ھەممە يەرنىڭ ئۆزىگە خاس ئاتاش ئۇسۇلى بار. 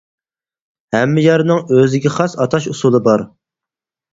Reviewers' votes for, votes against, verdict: 4, 0, accepted